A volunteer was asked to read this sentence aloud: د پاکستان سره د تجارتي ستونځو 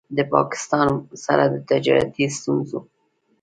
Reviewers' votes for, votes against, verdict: 2, 1, accepted